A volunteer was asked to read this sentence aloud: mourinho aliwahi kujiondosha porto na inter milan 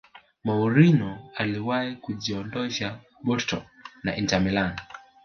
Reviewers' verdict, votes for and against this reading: accepted, 3, 0